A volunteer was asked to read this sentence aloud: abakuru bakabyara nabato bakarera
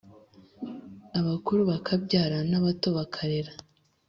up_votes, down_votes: 4, 0